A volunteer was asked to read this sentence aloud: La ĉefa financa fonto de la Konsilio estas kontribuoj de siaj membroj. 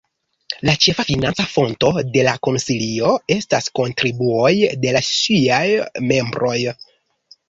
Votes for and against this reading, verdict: 1, 2, rejected